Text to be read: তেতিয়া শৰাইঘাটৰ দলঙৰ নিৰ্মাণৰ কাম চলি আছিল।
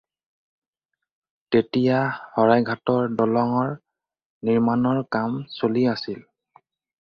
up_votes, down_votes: 2, 2